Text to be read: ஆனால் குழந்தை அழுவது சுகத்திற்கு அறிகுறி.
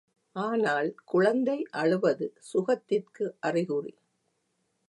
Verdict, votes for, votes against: accepted, 2, 0